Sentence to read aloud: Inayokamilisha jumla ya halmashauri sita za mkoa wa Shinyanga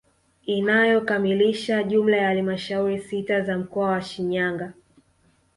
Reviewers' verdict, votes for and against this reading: accepted, 2, 0